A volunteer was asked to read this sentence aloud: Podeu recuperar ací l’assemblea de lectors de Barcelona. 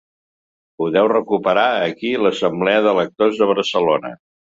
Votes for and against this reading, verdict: 1, 2, rejected